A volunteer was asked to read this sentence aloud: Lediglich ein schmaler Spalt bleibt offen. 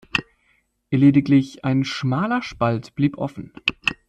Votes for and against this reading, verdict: 0, 2, rejected